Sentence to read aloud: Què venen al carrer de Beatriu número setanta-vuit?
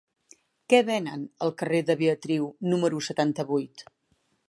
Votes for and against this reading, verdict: 4, 0, accepted